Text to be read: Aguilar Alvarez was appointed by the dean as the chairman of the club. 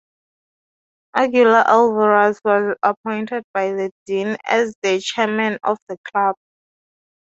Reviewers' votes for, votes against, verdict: 2, 0, accepted